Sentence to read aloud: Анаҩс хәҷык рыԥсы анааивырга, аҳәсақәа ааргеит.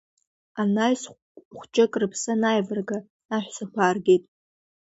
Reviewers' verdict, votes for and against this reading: accepted, 2, 0